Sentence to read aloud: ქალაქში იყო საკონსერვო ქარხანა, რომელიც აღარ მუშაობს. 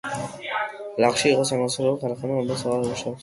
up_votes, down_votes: 0, 2